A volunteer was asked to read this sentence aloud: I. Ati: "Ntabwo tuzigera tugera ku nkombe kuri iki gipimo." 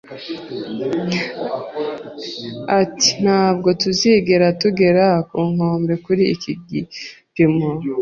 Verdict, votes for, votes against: accepted, 3, 0